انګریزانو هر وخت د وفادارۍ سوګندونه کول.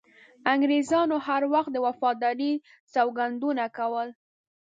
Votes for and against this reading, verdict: 2, 0, accepted